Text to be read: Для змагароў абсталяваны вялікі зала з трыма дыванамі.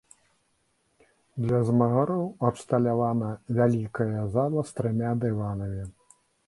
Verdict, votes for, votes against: rejected, 1, 3